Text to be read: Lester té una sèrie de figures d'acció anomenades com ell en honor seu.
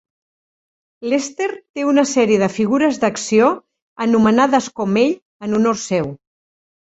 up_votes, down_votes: 2, 0